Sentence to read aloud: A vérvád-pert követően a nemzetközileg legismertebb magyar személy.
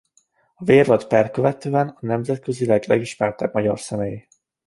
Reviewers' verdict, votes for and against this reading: rejected, 0, 2